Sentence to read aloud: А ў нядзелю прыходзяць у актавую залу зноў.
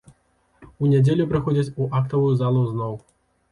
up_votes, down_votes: 1, 2